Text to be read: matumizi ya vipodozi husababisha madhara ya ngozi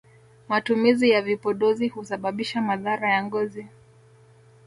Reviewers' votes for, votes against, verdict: 1, 2, rejected